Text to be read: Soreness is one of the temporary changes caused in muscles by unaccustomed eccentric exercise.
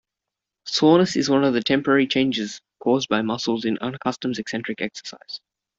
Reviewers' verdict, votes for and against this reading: rejected, 0, 2